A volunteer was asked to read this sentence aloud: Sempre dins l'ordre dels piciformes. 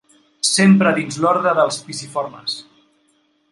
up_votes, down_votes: 2, 0